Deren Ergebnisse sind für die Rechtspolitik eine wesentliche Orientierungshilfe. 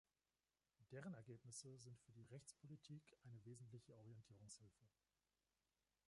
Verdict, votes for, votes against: rejected, 1, 2